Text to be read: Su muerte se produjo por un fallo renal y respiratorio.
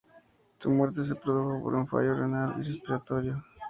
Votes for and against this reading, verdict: 2, 0, accepted